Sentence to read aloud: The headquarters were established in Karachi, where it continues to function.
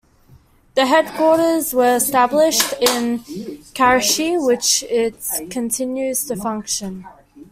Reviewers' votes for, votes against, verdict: 0, 2, rejected